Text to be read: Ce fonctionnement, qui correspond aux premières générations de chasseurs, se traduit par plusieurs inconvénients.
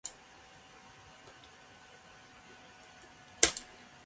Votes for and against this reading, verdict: 0, 2, rejected